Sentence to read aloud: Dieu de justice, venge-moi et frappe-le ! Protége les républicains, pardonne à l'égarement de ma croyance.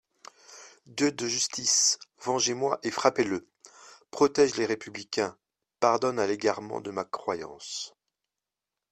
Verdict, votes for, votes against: rejected, 1, 2